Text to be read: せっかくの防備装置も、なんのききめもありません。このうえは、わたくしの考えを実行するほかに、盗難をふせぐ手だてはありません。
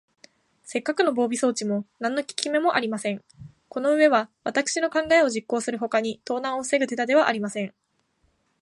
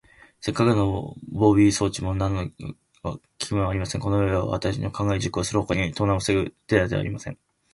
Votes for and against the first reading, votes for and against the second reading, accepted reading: 16, 2, 2, 2, first